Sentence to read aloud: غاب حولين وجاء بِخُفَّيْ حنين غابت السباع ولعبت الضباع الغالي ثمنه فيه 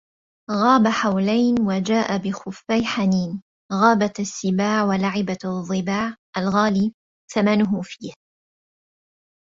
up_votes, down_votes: 0, 2